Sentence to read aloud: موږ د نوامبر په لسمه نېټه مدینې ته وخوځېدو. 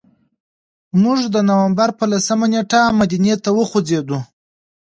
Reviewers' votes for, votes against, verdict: 2, 1, accepted